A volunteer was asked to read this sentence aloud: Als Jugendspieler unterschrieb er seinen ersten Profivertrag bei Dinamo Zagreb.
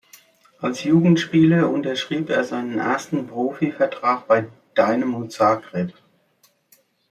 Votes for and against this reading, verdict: 2, 1, accepted